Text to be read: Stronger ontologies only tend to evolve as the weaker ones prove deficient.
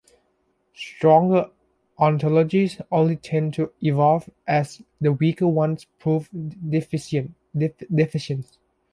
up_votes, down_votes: 0, 2